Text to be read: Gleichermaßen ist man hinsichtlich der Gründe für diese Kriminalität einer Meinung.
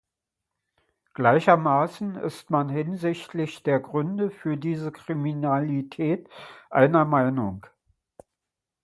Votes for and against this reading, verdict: 2, 0, accepted